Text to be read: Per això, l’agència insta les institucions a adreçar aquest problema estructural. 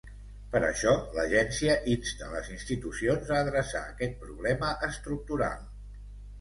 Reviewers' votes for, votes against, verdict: 2, 0, accepted